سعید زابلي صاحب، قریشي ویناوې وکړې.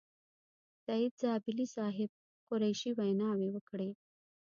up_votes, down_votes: 2, 0